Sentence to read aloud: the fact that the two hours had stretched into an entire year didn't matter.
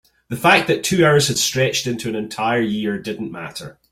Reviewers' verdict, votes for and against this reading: rejected, 0, 2